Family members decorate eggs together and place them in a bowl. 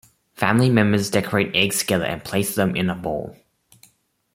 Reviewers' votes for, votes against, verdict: 2, 1, accepted